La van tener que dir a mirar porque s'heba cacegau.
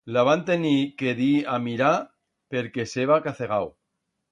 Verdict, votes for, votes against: rejected, 1, 2